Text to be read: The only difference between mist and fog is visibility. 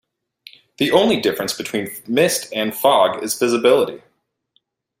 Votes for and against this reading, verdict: 2, 0, accepted